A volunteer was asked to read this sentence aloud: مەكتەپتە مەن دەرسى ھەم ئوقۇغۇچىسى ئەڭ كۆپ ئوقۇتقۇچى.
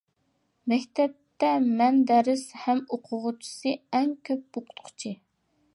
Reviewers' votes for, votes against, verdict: 2, 0, accepted